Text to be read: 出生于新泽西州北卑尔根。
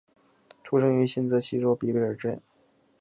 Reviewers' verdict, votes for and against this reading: accepted, 6, 1